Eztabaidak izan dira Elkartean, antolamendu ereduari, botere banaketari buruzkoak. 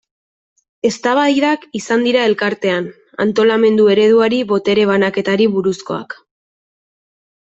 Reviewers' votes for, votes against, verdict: 2, 0, accepted